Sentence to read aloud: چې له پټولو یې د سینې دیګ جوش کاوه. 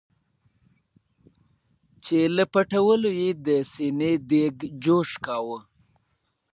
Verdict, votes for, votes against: rejected, 0, 2